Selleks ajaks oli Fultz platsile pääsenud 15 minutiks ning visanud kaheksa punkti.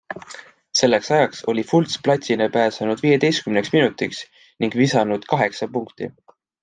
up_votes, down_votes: 0, 2